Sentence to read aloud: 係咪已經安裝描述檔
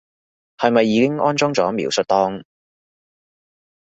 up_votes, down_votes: 1, 2